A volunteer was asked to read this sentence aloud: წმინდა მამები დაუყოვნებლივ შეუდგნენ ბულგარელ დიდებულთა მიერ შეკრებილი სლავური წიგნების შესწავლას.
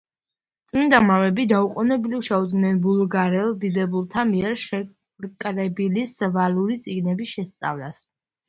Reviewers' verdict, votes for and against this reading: rejected, 0, 2